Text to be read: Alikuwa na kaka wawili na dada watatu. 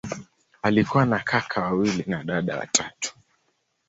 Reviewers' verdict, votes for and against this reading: accepted, 2, 0